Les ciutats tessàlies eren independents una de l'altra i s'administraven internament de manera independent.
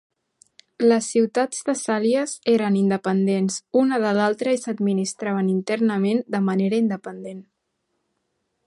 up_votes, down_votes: 2, 0